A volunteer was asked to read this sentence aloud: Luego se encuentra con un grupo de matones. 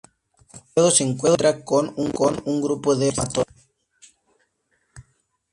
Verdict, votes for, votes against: rejected, 0, 2